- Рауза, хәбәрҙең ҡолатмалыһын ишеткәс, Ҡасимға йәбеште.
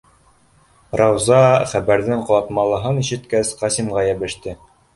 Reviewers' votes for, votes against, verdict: 1, 2, rejected